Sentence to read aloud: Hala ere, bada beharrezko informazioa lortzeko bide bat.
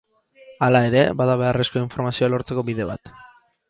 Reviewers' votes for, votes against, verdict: 6, 4, accepted